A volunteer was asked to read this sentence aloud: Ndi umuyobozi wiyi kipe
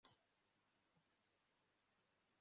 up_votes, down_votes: 0, 2